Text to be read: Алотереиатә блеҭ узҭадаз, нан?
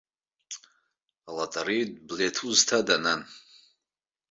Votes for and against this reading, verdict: 1, 2, rejected